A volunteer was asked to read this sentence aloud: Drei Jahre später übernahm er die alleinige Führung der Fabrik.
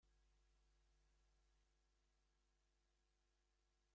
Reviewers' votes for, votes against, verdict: 0, 2, rejected